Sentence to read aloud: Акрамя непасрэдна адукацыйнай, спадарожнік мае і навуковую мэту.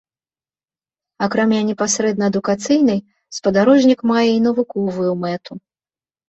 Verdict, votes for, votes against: accepted, 3, 0